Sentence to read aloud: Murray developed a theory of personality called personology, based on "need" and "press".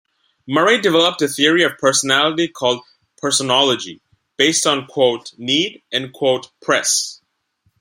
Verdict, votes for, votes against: rejected, 0, 2